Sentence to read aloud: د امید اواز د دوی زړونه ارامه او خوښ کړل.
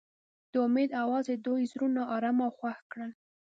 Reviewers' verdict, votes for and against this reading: accepted, 2, 0